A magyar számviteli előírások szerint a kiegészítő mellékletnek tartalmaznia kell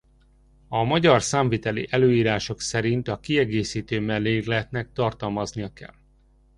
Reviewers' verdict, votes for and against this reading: rejected, 1, 2